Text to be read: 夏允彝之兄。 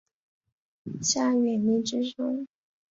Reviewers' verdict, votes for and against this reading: accepted, 3, 0